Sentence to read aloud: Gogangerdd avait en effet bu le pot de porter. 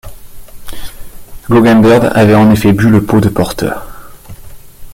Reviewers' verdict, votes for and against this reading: rejected, 1, 2